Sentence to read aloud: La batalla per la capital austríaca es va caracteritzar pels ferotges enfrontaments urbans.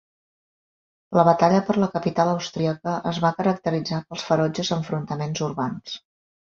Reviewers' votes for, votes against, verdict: 3, 0, accepted